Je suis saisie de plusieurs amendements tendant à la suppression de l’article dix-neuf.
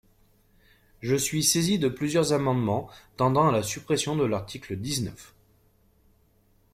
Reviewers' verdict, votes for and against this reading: accepted, 2, 0